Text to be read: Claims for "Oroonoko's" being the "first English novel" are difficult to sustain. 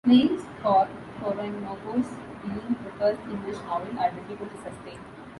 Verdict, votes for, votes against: accepted, 2, 0